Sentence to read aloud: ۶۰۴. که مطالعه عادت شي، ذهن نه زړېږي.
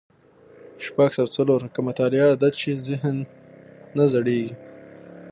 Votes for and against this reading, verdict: 0, 2, rejected